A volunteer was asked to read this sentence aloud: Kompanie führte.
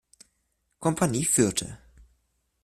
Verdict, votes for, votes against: rejected, 1, 2